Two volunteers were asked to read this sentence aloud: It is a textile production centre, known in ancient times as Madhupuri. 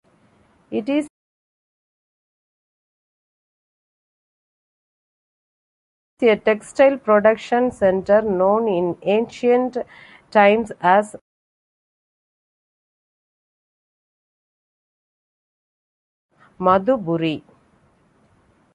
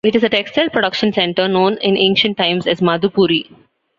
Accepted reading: second